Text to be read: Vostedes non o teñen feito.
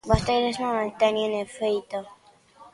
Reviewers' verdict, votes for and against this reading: rejected, 0, 2